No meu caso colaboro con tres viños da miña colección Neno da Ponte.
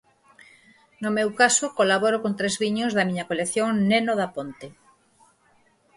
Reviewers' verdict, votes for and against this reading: accepted, 4, 0